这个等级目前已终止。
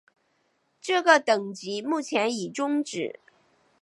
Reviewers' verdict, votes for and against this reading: accepted, 2, 0